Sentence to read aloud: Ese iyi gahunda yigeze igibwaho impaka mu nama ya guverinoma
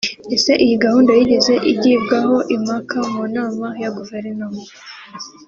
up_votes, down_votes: 2, 0